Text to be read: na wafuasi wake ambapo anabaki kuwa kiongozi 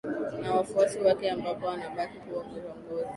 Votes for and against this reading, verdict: 1, 2, rejected